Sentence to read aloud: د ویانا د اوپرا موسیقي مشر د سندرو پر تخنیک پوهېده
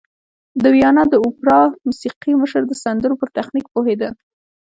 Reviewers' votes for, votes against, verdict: 3, 0, accepted